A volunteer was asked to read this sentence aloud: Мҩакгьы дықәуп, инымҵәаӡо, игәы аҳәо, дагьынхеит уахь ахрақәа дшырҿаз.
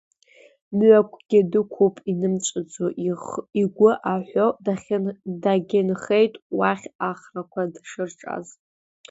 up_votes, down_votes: 0, 2